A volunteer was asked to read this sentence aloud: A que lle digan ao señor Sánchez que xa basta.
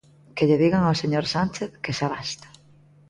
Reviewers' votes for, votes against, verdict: 1, 2, rejected